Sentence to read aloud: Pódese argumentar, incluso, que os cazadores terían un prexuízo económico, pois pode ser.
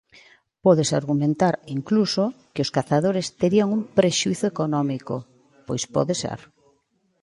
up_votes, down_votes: 2, 0